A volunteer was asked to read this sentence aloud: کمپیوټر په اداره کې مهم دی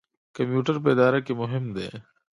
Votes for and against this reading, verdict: 2, 0, accepted